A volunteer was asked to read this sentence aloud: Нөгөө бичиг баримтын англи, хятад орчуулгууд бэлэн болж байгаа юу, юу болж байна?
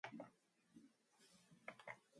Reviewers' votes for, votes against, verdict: 2, 2, rejected